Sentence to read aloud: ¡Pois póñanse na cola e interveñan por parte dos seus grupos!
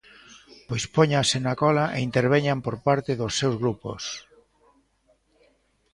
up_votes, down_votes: 1, 2